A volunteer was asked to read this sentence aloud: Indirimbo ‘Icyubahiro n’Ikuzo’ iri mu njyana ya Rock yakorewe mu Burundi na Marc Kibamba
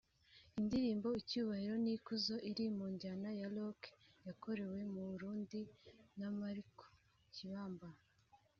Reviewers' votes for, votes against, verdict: 1, 2, rejected